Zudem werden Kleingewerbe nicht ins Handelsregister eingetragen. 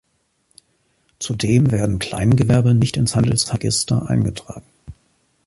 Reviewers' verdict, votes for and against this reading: accepted, 2, 1